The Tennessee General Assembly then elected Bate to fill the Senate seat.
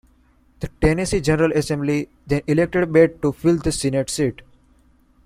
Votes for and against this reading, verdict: 1, 2, rejected